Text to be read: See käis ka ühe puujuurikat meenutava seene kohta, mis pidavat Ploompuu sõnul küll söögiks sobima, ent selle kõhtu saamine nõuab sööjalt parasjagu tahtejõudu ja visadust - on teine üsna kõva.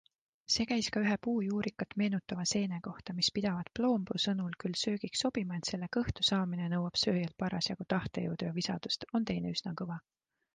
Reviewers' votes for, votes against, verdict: 2, 1, accepted